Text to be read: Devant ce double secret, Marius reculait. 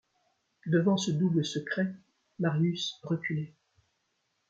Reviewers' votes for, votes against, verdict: 2, 0, accepted